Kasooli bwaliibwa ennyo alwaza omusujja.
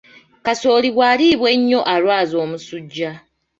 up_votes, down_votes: 1, 2